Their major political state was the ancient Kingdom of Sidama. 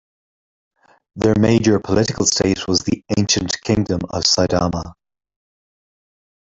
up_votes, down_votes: 1, 2